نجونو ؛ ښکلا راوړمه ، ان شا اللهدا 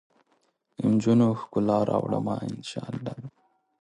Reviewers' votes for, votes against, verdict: 1, 2, rejected